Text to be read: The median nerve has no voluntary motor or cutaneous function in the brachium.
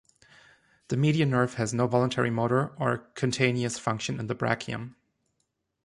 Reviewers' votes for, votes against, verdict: 1, 2, rejected